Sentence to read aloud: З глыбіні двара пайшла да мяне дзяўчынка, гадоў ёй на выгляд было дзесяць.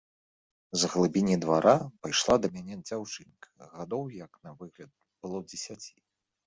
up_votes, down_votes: 0, 2